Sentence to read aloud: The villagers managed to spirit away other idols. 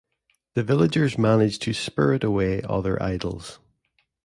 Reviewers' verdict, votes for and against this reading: accepted, 2, 0